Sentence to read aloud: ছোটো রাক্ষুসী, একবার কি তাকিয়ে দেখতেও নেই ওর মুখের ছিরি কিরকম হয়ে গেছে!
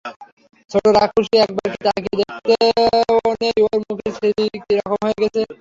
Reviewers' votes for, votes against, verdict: 0, 3, rejected